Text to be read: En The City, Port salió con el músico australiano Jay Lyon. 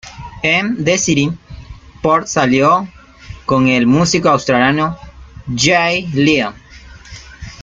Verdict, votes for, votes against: accepted, 2, 0